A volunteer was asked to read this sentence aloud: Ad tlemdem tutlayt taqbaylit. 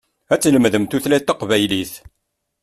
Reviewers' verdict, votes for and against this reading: accepted, 2, 0